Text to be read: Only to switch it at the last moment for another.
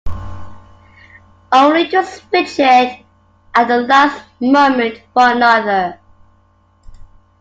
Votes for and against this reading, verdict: 2, 1, accepted